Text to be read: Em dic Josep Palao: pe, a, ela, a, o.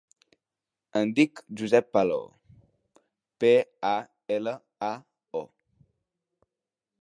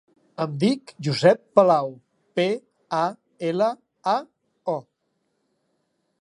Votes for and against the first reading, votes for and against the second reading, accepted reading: 0, 2, 2, 1, second